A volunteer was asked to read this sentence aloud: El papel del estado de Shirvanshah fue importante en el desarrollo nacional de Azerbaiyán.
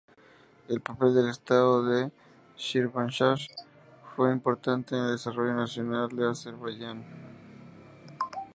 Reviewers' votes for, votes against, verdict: 2, 0, accepted